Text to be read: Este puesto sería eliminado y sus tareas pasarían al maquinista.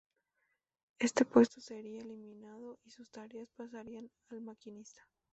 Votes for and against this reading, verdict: 2, 2, rejected